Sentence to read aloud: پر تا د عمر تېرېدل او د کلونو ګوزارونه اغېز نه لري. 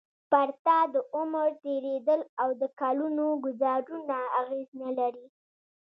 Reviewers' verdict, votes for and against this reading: rejected, 1, 2